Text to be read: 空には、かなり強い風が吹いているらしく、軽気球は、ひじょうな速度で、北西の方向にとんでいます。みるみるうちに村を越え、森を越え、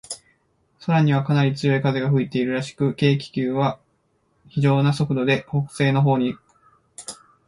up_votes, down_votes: 1, 2